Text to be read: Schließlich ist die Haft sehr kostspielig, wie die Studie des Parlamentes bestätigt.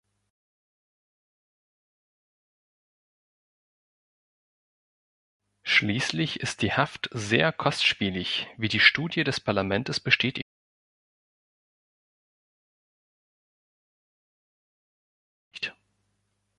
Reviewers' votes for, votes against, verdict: 1, 2, rejected